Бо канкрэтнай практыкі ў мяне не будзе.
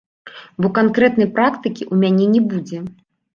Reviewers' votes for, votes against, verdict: 1, 2, rejected